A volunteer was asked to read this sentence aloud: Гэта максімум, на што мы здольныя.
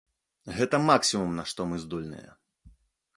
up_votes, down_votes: 2, 0